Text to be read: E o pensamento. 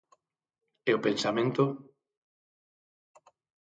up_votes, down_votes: 6, 0